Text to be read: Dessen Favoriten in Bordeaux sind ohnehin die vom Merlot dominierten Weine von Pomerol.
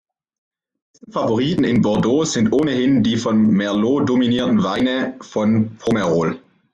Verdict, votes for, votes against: rejected, 1, 2